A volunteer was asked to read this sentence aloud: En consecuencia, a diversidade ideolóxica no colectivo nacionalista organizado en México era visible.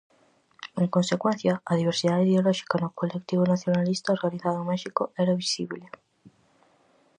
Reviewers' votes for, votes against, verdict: 4, 0, accepted